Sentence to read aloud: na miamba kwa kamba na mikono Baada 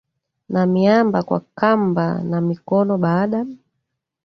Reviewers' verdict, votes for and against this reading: rejected, 1, 2